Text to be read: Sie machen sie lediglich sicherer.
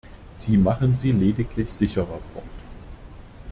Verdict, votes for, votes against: rejected, 0, 2